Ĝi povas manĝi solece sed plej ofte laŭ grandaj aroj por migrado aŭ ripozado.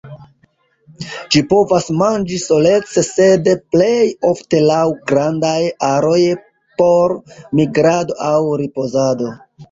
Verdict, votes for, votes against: accepted, 2, 1